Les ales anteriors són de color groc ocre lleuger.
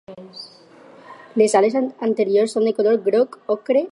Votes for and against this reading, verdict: 0, 4, rejected